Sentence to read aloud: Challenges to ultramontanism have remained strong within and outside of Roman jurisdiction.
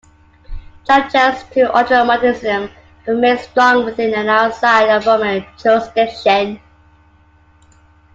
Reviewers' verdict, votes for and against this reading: rejected, 0, 2